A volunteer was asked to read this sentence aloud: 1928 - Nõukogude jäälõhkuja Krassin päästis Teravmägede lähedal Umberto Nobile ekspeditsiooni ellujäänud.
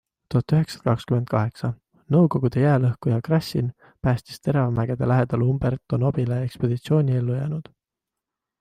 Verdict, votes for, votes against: rejected, 0, 2